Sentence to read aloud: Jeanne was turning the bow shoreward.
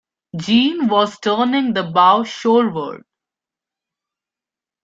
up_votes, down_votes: 0, 3